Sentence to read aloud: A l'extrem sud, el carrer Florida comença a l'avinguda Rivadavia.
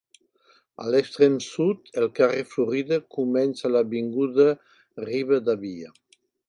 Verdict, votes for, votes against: accepted, 2, 1